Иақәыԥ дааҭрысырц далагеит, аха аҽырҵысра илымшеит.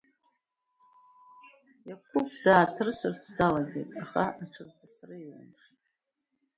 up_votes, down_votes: 1, 2